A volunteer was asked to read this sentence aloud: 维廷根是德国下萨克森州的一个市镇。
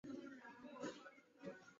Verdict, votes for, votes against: accepted, 2, 0